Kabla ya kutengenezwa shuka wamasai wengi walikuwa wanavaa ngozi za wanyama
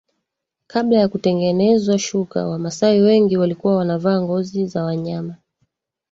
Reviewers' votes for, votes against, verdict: 2, 1, accepted